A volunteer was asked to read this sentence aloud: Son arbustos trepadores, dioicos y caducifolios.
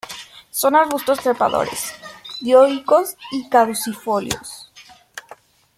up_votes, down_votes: 2, 0